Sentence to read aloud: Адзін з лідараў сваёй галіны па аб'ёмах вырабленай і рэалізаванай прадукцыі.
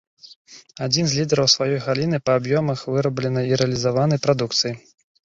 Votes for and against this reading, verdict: 1, 2, rejected